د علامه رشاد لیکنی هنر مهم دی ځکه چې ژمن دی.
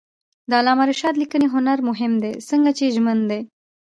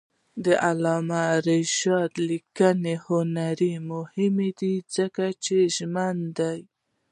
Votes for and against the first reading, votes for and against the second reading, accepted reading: 1, 2, 2, 0, second